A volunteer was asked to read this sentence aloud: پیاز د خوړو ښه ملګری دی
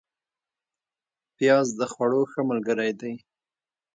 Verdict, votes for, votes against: accepted, 2, 0